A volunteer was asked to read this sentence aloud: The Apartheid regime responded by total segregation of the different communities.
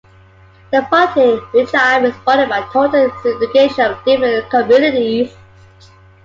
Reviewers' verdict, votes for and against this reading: rejected, 1, 2